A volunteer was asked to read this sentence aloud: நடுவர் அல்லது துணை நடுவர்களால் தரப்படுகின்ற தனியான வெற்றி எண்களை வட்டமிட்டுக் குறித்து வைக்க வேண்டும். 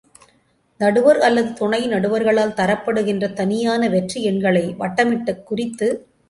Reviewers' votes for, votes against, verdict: 0, 2, rejected